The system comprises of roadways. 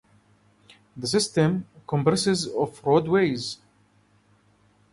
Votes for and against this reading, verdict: 2, 0, accepted